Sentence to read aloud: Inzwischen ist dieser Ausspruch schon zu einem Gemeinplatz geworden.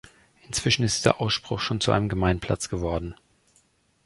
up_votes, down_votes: 0, 2